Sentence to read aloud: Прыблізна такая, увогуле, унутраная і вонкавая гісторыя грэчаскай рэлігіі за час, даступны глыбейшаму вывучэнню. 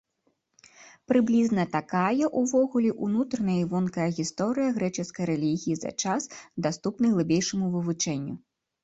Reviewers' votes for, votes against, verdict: 0, 2, rejected